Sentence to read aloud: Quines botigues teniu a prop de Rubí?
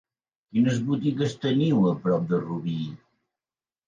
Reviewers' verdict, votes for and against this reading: accepted, 4, 1